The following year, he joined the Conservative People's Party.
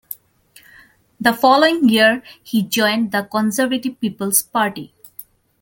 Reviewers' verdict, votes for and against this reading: accepted, 2, 0